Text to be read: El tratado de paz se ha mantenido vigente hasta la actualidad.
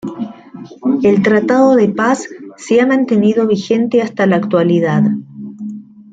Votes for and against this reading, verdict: 1, 2, rejected